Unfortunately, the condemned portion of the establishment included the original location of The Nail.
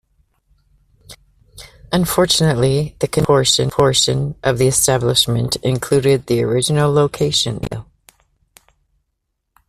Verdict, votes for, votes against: rejected, 0, 2